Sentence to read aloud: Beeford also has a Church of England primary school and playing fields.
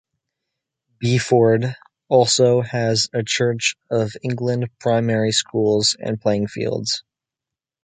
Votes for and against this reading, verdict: 0, 2, rejected